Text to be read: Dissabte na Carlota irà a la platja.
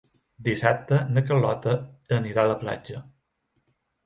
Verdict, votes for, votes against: rejected, 0, 2